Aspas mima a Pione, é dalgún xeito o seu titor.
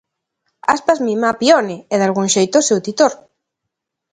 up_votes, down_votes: 2, 0